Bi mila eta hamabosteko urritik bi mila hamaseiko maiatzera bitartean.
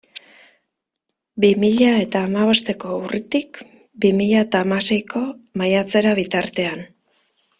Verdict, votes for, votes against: rejected, 1, 2